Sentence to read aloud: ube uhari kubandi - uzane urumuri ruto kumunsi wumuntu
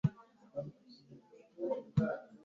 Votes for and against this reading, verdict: 1, 2, rejected